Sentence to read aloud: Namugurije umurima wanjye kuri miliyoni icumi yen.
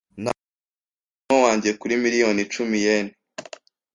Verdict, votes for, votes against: rejected, 1, 2